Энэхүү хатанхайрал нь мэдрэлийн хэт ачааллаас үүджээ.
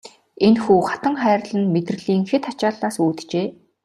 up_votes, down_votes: 2, 0